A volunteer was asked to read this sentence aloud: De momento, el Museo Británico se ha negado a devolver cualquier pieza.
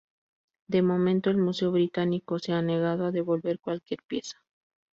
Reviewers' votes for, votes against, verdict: 2, 0, accepted